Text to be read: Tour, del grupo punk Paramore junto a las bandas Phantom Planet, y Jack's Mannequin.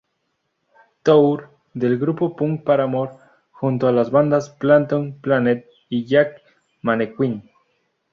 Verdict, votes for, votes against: rejected, 0, 2